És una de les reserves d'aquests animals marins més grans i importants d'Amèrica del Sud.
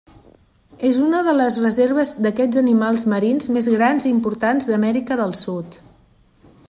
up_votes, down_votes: 3, 0